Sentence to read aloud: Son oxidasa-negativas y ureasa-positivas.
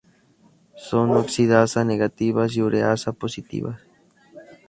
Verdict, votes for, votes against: accepted, 2, 0